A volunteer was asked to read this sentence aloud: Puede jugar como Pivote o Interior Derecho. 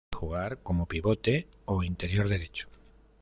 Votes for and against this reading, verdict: 0, 2, rejected